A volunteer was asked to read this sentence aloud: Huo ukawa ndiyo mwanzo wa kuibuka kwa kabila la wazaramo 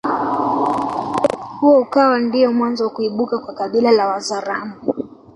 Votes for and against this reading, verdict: 2, 0, accepted